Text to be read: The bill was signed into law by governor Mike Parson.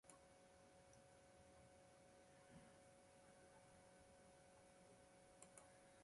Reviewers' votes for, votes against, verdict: 0, 2, rejected